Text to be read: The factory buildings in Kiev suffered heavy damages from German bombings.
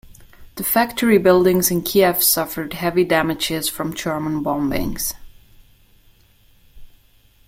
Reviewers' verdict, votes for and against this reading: accepted, 2, 0